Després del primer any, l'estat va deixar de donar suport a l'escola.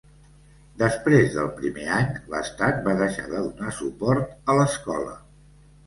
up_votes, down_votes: 2, 0